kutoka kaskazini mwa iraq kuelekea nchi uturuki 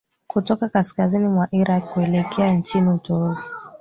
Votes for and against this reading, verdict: 2, 1, accepted